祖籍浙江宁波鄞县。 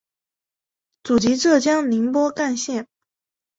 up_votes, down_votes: 0, 2